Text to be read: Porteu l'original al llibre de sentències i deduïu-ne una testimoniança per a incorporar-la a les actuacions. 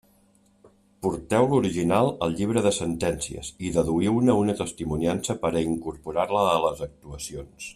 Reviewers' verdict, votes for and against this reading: accepted, 2, 1